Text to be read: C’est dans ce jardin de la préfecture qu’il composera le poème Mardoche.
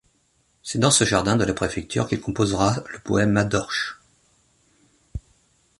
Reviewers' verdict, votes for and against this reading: rejected, 0, 2